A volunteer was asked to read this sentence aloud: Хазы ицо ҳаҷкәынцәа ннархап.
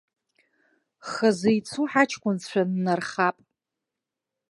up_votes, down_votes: 2, 1